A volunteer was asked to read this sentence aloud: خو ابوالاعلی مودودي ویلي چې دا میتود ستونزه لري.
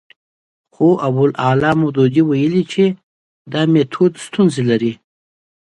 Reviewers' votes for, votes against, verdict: 2, 0, accepted